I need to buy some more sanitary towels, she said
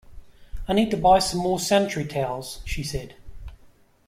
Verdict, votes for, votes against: accepted, 2, 0